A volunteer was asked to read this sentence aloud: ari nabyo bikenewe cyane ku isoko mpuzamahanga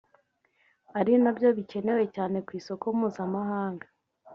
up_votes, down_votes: 2, 1